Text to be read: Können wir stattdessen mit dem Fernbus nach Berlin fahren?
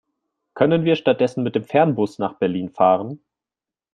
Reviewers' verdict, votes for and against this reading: accepted, 3, 0